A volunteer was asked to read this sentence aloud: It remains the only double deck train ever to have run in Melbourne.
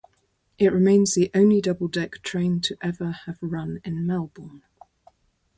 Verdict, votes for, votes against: rejected, 2, 2